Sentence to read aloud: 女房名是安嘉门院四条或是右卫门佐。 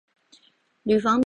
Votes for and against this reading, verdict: 0, 2, rejected